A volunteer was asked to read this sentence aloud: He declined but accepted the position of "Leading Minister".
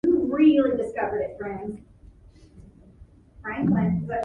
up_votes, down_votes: 0, 2